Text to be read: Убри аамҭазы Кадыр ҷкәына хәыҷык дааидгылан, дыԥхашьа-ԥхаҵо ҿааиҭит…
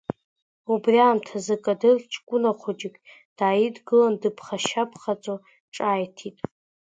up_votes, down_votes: 2, 0